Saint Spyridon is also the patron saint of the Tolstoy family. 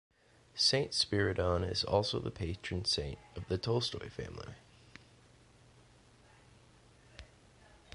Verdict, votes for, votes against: accepted, 2, 0